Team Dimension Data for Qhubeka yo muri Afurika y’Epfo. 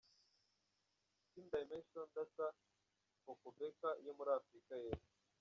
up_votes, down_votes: 1, 2